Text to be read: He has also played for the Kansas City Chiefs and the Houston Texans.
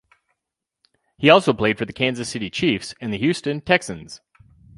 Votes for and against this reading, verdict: 0, 4, rejected